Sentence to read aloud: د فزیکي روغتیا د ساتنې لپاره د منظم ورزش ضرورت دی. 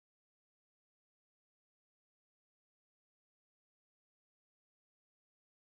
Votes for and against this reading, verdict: 0, 2, rejected